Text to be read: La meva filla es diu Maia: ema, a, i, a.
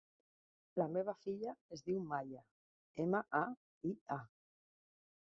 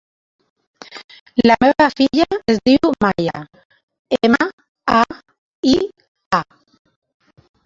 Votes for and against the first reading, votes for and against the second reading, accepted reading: 3, 1, 2, 3, first